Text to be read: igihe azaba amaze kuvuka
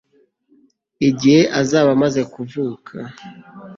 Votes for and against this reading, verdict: 3, 1, accepted